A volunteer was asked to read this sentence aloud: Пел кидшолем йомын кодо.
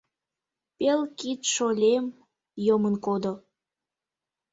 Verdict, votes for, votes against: rejected, 0, 2